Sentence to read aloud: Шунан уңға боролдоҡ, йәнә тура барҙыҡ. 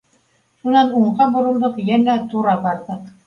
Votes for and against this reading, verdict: 2, 0, accepted